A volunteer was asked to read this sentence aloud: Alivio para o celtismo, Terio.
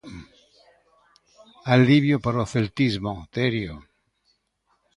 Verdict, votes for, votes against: accepted, 2, 0